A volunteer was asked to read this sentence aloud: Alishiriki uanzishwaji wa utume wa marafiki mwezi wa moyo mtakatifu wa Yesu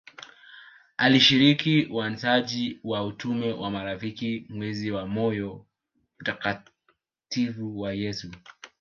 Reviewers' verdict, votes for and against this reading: rejected, 0, 2